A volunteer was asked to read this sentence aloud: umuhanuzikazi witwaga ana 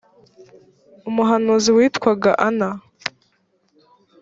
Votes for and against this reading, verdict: 1, 2, rejected